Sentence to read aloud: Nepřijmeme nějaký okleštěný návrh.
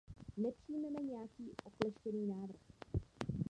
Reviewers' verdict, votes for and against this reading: rejected, 0, 2